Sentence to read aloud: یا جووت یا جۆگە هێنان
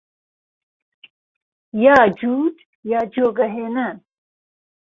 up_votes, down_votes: 2, 0